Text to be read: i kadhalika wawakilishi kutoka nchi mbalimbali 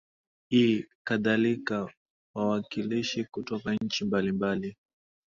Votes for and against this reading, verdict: 2, 0, accepted